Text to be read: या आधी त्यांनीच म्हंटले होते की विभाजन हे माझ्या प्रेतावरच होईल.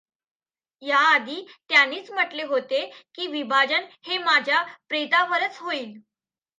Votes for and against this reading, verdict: 2, 0, accepted